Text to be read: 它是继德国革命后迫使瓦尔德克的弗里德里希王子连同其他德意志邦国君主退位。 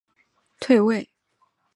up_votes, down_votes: 0, 3